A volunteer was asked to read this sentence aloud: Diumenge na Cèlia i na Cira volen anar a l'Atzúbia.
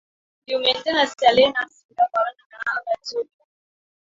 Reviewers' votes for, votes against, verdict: 0, 2, rejected